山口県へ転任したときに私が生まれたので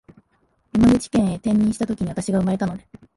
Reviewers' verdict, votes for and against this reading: rejected, 1, 2